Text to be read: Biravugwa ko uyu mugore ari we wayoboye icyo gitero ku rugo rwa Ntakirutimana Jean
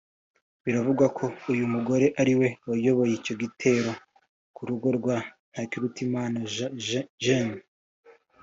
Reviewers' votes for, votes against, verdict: 2, 1, accepted